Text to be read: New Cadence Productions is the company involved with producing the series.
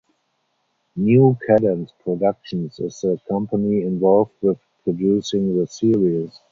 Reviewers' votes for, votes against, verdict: 2, 2, rejected